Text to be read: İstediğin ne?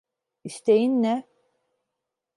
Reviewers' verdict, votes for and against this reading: rejected, 0, 2